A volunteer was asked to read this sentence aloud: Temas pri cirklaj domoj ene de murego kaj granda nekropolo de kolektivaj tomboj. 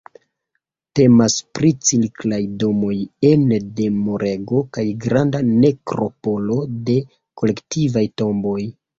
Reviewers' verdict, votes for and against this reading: rejected, 1, 2